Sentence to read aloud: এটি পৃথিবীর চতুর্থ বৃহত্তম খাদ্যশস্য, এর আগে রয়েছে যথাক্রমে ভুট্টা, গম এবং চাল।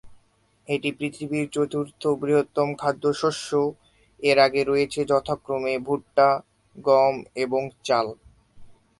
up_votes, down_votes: 4, 1